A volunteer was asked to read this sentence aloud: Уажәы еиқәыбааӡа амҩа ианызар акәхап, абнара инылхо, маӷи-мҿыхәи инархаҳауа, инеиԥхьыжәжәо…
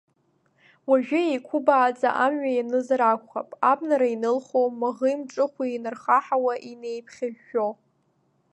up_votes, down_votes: 1, 2